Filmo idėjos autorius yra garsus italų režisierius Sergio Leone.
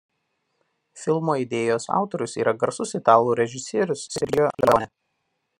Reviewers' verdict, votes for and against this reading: rejected, 0, 2